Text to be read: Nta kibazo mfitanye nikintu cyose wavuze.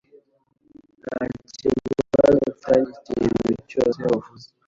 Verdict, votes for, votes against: rejected, 1, 2